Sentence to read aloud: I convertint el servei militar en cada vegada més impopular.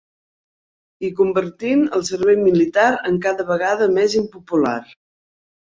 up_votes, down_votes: 3, 0